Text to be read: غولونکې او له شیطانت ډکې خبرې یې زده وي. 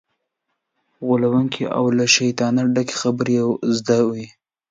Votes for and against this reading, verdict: 1, 2, rejected